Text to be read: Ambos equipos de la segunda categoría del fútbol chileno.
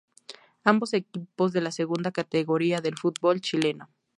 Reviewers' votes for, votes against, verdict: 2, 2, rejected